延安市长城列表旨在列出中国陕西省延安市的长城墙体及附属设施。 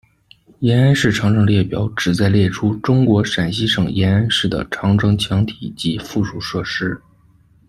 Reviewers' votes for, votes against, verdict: 2, 0, accepted